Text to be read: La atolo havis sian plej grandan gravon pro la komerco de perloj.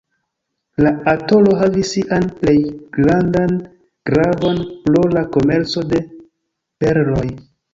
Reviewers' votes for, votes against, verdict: 0, 2, rejected